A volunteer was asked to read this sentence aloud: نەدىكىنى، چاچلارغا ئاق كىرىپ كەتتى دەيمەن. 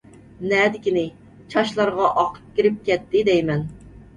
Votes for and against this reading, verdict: 2, 0, accepted